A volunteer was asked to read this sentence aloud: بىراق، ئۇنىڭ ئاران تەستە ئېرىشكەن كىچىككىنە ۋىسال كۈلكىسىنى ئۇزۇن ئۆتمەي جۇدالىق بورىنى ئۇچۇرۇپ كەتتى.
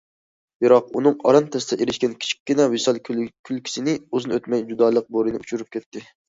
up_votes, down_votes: 2, 1